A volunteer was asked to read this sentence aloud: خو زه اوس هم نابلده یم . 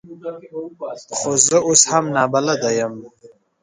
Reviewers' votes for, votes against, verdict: 0, 2, rejected